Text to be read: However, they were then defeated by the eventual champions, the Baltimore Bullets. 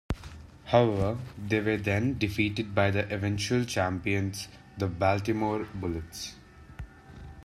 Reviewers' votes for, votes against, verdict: 2, 0, accepted